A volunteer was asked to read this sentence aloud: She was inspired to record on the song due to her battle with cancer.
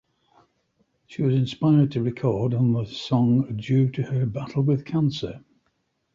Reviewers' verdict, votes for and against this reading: accepted, 2, 0